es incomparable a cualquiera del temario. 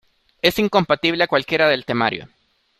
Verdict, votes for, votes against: rejected, 0, 2